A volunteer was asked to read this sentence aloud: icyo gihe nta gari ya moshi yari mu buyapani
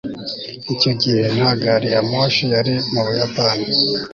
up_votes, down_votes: 2, 0